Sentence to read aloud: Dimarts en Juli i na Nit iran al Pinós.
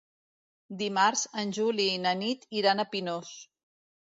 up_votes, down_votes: 0, 2